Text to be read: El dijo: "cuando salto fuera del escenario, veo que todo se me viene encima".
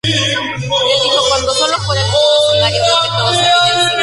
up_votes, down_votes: 0, 2